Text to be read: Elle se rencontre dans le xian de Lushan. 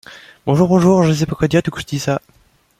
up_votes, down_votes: 0, 2